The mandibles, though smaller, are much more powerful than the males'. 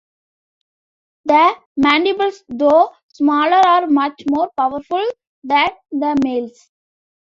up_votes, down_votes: 2, 0